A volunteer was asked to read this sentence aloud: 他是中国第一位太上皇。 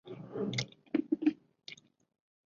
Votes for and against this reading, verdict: 0, 2, rejected